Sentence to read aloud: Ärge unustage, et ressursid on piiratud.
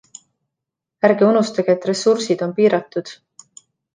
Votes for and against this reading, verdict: 2, 0, accepted